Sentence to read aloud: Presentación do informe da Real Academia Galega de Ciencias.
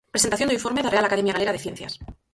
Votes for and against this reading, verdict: 4, 6, rejected